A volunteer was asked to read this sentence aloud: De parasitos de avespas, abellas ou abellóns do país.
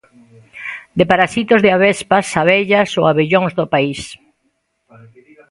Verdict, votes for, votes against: rejected, 1, 2